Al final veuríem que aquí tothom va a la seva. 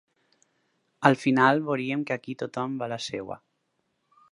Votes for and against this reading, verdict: 2, 4, rejected